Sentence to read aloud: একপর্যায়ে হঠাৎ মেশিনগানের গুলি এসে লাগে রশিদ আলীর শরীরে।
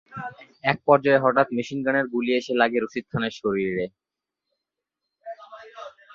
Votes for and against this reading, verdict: 1, 5, rejected